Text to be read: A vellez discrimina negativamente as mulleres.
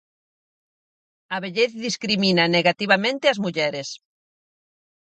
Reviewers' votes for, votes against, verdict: 4, 0, accepted